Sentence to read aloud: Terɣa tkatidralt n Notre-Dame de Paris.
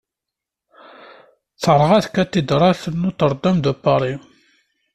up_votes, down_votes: 2, 0